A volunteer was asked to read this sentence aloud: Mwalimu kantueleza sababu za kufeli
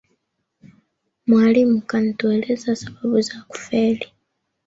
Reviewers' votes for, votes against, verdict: 3, 2, accepted